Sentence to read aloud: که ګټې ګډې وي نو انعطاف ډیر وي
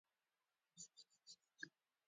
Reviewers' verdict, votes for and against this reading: rejected, 1, 2